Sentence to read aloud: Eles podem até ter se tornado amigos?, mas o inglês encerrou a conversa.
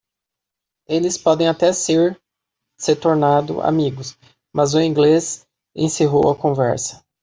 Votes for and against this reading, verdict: 0, 2, rejected